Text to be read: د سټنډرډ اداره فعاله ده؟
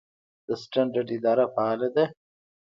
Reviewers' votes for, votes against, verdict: 0, 2, rejected